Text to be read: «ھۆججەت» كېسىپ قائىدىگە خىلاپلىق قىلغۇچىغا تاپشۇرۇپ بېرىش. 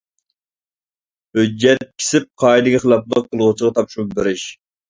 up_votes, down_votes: 1, 2